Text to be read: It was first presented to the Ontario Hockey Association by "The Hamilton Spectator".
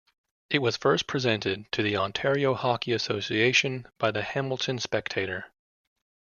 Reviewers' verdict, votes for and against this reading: accepted, 2, 0